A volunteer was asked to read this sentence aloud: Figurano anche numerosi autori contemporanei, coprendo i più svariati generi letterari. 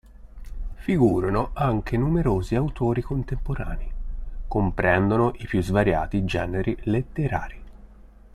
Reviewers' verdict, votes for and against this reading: rejected, 1, 2